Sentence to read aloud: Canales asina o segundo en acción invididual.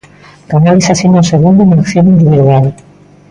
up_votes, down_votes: 0, 2